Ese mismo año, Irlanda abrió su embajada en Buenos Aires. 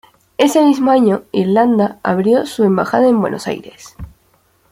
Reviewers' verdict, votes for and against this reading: accepted, 2, 0